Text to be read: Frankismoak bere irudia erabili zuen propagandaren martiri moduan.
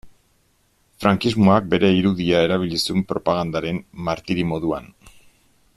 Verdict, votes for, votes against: accepted, 2, 0